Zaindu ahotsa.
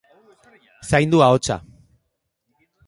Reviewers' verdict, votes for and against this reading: rejected, 1, 2